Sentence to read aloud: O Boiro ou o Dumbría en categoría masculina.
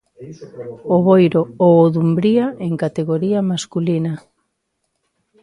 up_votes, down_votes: 1, 2